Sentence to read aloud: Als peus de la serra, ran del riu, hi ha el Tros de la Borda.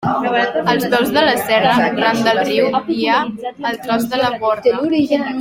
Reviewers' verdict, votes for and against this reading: rejected, 0, 2